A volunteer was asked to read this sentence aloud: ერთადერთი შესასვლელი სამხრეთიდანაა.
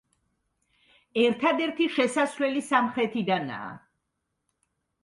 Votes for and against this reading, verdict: 2, 0, accepted